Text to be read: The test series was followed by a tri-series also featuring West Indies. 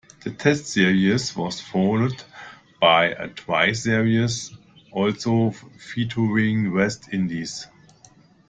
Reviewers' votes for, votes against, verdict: 1, 2, rejected